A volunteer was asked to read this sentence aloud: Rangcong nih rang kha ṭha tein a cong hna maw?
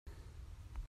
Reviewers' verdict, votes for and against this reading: rejected, 0, 2